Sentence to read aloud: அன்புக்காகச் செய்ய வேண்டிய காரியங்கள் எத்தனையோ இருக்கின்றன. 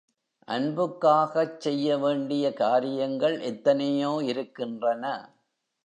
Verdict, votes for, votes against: accepted, 2, 0